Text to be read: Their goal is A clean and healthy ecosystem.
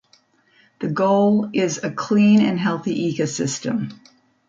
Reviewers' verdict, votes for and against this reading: accepted, 2, 0